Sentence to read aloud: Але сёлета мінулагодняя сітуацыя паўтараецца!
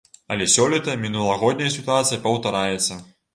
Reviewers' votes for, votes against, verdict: 2, 0, accepted